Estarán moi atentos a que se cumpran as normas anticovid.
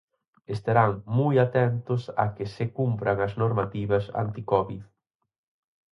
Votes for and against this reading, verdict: 2, 4, rejected